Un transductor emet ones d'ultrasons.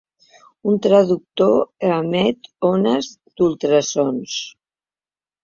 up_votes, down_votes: 0, 3